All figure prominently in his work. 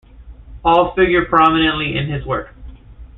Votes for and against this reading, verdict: 2, 1, accepted